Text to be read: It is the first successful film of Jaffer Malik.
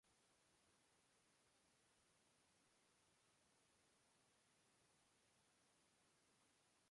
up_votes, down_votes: 0, 2